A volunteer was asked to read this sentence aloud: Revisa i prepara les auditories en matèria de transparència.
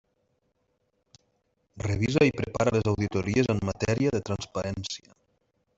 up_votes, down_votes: 1, 2